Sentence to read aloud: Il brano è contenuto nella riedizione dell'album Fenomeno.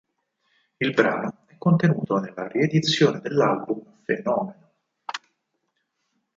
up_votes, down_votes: 2, 4